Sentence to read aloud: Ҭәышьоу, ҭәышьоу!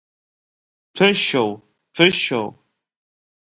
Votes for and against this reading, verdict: 2, 0, accepted